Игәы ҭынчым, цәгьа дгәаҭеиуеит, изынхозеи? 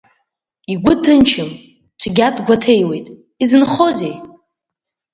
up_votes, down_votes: 2, 0